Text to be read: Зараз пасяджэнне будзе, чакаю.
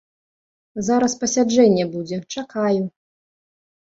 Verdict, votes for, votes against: accepted, 2, 0